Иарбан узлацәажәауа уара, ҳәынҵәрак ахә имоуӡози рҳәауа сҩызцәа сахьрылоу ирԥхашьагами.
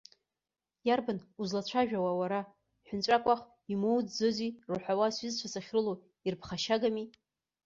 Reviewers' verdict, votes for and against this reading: rejected, 0, 2